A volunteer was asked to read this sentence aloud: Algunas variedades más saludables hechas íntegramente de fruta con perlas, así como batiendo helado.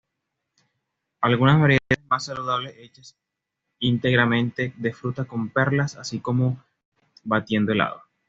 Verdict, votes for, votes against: accepted, 2, 0